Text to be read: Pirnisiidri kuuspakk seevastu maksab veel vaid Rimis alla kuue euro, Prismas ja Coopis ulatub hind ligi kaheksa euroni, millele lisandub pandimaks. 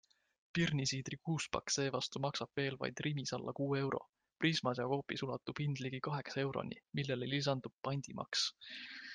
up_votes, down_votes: 3, 0